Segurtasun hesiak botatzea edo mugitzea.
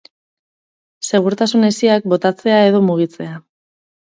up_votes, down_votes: 4, 0